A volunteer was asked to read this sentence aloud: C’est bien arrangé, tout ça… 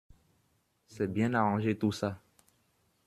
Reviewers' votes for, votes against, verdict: 2, 0, accepted